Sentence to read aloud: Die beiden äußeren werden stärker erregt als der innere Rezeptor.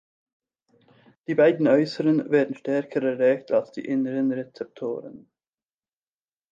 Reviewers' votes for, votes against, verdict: 1, 2, rejected